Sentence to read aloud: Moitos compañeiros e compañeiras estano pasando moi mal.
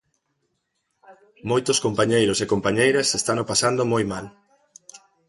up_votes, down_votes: 0, 2